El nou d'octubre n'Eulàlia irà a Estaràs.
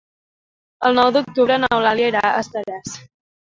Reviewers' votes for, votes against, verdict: 2, 0, accepted